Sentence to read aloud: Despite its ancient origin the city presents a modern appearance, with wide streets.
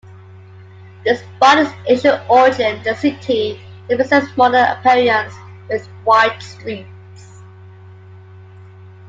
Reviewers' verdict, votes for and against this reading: accepted, 2, 1